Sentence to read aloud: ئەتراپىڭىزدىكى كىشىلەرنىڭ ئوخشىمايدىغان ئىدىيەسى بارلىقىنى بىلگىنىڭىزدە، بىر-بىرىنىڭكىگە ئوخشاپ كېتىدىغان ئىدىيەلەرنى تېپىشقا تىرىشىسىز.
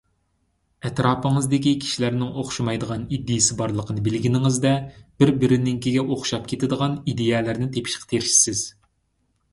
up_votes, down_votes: 2, 0